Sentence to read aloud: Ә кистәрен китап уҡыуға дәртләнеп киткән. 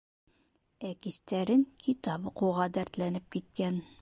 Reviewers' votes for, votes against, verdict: 2, 0, accepted